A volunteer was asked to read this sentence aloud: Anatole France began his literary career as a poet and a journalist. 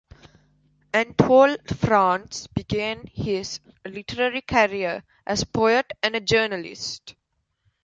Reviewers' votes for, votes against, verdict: 3, 0, accepted